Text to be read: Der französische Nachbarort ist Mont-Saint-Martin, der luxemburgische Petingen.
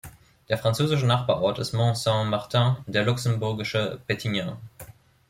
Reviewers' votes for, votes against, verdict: 2, 0, accepted